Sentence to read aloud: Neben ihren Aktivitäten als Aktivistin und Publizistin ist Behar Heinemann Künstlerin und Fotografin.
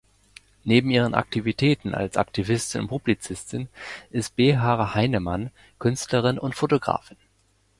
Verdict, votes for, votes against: accepted, 2, 1